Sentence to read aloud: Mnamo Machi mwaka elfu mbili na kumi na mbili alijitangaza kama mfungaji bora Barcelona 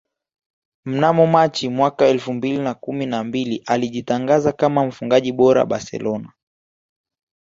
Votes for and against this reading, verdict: 1, 2, rejected